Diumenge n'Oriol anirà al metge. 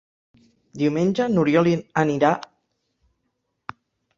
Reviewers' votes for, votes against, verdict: 0, 2, rejected